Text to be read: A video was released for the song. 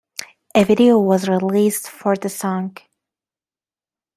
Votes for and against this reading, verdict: 2, 0, accepted